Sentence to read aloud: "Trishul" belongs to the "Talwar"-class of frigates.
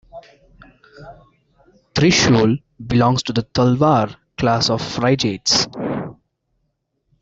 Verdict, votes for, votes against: rejected, 0, 2